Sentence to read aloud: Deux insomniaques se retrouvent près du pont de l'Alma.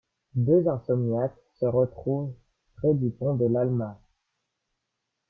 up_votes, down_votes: 2, 0